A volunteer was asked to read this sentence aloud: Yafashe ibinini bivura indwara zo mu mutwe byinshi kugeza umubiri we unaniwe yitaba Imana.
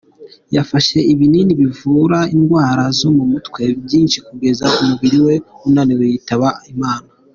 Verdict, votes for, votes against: accepted, 2, 0